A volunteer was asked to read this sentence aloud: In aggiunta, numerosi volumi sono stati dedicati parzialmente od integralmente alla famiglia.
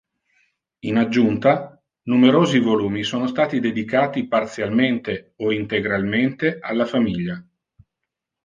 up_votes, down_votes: 1, 2